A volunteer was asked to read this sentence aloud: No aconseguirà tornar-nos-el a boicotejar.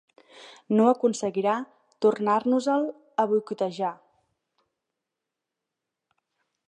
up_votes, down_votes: 4, 0